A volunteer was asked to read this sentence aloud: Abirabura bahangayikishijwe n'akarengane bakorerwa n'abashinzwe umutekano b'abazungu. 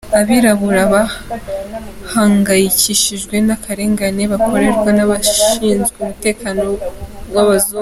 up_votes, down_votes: 2, 0